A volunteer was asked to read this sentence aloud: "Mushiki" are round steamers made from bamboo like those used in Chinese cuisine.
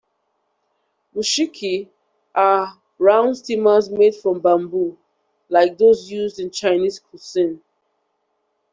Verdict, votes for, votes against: accepted, 2, 0